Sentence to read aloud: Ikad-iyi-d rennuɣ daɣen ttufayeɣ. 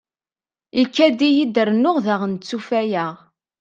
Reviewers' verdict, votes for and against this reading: accepted, 2, 0